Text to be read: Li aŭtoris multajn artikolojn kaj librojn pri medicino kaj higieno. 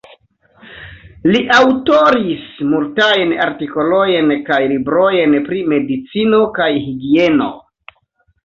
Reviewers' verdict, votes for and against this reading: rejected, 0, 2